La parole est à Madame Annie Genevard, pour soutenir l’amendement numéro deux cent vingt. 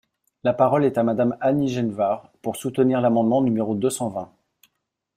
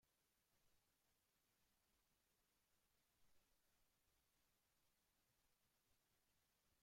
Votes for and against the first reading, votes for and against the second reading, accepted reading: 2, 0, 0, 2, first